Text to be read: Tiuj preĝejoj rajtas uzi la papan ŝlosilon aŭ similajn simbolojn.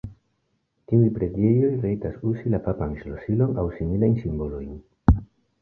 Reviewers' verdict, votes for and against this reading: accepted, 2, 0